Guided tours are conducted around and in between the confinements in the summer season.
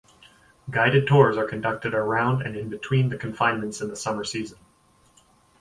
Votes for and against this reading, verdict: 4, 0, accepted